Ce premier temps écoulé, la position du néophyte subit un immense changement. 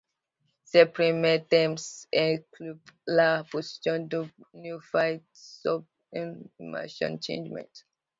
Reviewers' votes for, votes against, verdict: 0, 2, rejected